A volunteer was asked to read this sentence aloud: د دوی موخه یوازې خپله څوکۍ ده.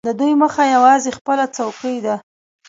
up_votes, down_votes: 2, 0